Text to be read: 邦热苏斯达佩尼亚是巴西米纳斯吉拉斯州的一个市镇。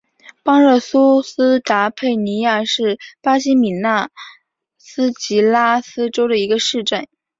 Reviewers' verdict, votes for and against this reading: accepted, 7, 1